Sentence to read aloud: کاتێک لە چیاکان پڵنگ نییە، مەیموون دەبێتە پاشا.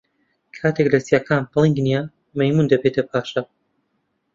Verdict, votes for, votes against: accepted, 2, 0